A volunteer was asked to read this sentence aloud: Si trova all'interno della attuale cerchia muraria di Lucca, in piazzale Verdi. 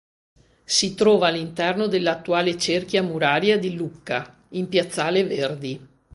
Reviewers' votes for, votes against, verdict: 2, 0, accepted